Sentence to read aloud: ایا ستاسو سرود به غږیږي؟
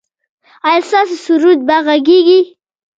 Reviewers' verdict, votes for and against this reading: rejected, 1, 2